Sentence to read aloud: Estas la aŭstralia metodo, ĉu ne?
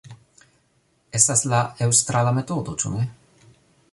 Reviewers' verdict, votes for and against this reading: rejected, 0, 3